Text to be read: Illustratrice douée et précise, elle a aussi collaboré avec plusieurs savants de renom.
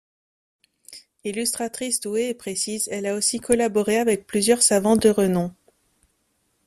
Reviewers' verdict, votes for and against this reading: accepted, 2, 0